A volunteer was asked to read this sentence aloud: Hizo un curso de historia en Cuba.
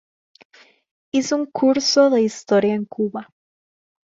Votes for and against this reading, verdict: 2, 0, accepted